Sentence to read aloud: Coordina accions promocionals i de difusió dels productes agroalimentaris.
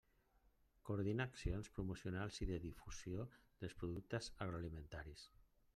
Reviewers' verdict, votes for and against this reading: rejected, 1, 2